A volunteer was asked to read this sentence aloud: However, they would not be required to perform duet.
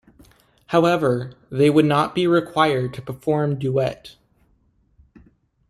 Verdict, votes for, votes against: accepted, 2, 0